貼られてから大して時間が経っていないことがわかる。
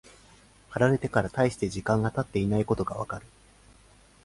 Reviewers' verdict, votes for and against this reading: accepted, 5, 0